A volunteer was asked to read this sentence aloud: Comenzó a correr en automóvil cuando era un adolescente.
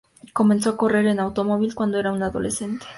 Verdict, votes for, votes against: accepted, 2, 0